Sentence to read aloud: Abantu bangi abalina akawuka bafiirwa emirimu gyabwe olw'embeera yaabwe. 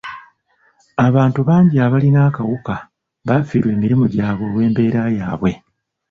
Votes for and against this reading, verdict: 0, 2, rejected